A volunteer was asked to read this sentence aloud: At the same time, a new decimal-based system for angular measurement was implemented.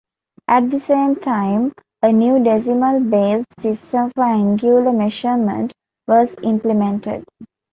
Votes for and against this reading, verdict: 2, 0, accepted